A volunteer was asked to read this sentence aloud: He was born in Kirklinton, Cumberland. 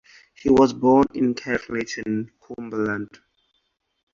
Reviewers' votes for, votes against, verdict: 2, 4, rejected